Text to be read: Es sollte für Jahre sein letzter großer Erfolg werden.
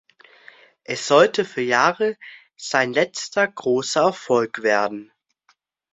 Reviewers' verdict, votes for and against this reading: accepted, 2, 0